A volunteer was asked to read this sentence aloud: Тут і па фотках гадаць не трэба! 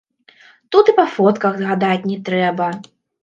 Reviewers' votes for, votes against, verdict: 1, 2, rejected